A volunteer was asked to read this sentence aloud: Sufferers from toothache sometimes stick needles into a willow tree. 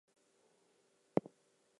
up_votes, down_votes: 0, 2